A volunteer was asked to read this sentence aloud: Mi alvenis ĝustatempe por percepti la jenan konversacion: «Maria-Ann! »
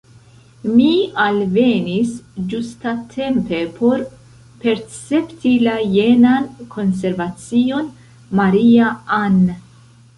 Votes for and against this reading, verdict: 1, 2, rejected